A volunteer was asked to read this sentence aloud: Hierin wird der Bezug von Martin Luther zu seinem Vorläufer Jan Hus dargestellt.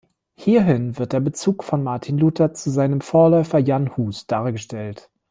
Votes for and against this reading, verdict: 0, 2, rejected